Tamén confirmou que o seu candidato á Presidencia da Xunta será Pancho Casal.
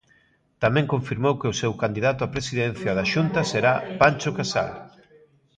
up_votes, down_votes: 2, 0